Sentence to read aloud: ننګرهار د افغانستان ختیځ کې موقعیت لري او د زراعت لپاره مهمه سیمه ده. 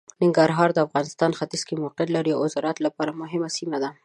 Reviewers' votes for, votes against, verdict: 2, 0, accepted